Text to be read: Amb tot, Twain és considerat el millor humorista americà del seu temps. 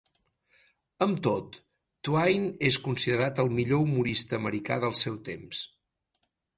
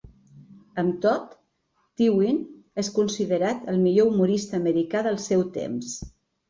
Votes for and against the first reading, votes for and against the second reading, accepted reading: 6, 0, 0, 2, first